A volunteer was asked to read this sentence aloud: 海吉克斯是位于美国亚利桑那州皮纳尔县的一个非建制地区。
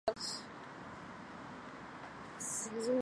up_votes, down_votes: 0, 4